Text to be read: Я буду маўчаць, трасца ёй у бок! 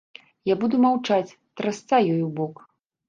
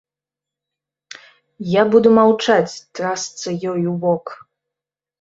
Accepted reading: second